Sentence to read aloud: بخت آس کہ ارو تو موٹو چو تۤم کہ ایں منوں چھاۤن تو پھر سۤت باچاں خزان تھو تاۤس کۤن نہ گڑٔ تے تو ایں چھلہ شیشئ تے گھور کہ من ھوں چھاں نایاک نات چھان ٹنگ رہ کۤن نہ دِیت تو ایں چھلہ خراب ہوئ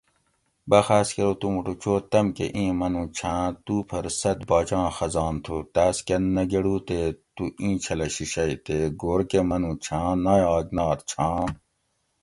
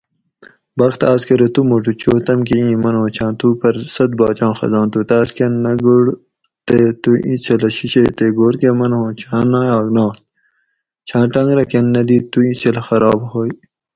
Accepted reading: second